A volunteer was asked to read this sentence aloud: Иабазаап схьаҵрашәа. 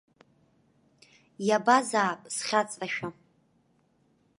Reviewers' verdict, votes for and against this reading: accepted, 2, 0